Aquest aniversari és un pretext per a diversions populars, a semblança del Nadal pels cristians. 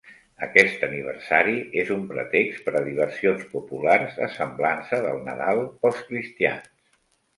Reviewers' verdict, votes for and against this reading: accepted, 2, 0